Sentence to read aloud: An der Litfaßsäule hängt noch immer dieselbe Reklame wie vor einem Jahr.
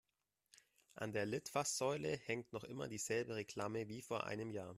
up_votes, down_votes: 2, 0